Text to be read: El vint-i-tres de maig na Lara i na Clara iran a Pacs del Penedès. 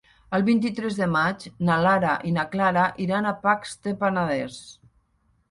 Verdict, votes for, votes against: rejected, 0, 2